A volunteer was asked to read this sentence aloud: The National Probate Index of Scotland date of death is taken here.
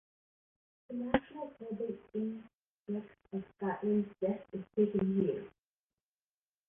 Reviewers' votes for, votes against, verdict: 0, 2, rejected